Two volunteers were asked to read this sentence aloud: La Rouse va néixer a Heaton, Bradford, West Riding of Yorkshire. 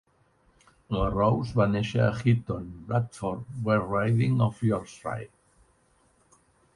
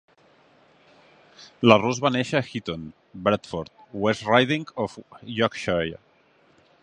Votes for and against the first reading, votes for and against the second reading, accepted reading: 0, 2, 3, 0, second